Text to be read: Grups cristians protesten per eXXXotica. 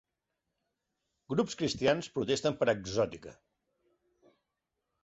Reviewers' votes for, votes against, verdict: 2, 0, accepted